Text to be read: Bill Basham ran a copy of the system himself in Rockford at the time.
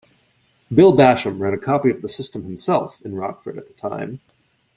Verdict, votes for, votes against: accepted, 2, 0